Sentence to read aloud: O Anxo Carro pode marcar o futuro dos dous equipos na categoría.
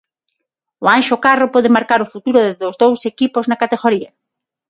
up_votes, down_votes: 3, 6